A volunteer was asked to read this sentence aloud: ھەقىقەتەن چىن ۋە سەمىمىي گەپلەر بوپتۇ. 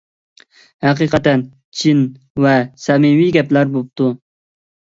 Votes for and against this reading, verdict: 2, 0, accepted